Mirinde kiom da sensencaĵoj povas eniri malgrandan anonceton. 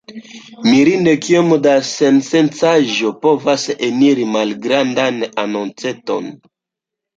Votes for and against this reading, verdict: 1, 2, rejected